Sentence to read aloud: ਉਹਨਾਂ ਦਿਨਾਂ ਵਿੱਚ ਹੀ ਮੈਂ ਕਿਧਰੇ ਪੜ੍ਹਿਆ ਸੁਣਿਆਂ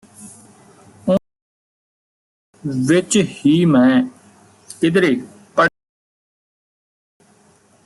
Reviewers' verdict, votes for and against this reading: rejected, 1, 2